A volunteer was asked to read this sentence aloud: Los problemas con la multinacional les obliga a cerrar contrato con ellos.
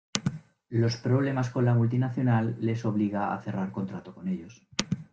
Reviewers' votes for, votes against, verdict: 2, 0, accepted